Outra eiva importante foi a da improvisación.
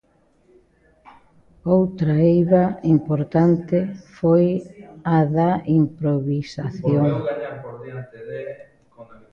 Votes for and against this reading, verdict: 1, 2, rejected